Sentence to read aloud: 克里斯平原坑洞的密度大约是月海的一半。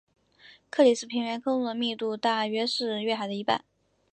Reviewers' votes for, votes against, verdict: 2, 0, accepted